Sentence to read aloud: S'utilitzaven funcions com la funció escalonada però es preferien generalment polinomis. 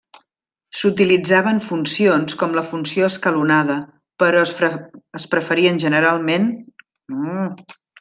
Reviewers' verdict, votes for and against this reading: rejected, 0, 2